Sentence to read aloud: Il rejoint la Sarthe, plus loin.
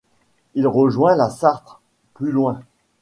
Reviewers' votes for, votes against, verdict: 0, 2, rejected